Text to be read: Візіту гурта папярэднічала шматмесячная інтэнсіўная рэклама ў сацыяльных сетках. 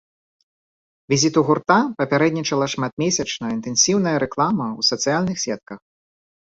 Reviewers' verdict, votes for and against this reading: accepted, 2, 0